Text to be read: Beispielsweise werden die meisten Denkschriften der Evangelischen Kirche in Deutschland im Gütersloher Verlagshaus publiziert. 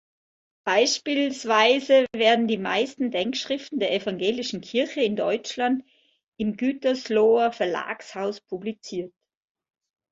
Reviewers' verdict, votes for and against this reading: accepted, 2, 0